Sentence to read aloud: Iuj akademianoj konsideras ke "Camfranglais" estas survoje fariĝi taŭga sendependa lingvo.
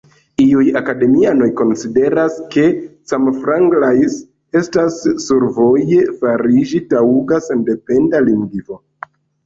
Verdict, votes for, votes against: accepted, 2, 0